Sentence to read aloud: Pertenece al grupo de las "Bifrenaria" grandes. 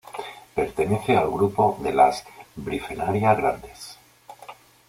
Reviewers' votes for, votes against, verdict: 2, 0, accepted